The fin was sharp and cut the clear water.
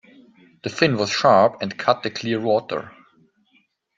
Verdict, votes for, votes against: accepted, 2, 0